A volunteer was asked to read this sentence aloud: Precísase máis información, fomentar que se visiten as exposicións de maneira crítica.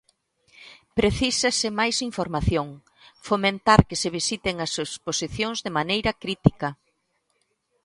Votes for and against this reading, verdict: 2, 0, accepted